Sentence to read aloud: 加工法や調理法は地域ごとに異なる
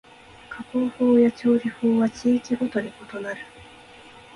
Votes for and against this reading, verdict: 3, 0, accepted